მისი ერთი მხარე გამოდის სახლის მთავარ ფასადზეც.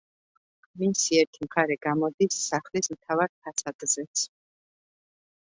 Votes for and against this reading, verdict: 2, 0, accepted